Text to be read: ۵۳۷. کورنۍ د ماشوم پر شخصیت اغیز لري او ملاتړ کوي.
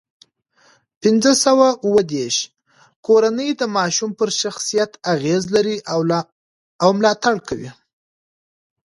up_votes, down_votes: 0, 2